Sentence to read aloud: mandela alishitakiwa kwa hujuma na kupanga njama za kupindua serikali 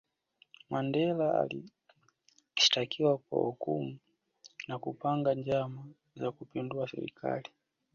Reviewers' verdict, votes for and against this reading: accepted, 2, 1